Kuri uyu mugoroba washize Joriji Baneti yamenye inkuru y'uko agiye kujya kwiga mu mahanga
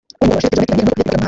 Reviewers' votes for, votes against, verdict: 0, 2, rejected